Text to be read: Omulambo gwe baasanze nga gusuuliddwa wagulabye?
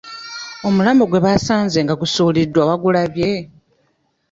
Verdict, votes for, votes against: rejected, 1, 2